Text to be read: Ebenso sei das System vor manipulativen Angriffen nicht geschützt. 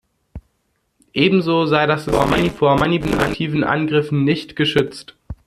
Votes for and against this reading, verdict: 0, 2, rejected